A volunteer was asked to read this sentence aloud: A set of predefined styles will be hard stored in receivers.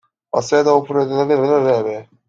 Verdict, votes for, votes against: rejected, 0, 2